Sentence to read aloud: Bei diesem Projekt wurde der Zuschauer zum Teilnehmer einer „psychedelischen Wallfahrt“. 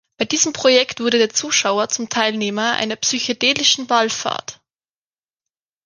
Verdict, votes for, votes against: accepted, 2, 0